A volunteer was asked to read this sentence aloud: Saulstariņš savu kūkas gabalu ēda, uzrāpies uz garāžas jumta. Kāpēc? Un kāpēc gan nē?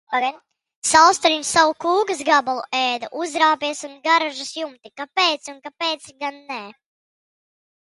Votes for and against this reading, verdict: 0, 2, rejected